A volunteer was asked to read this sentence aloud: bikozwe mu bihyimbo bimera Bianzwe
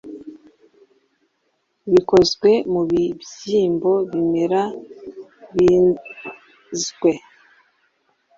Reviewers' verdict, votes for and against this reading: rejected, 0, 2